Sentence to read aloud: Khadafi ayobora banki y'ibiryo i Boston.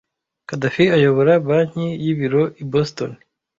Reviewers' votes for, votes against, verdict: 1, 2, rejected